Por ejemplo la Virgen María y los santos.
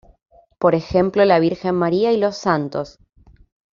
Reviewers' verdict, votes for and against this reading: rejected, 1, 2